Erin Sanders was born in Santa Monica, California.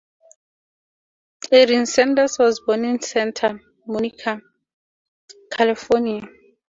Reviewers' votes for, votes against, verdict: 4, 0, accepted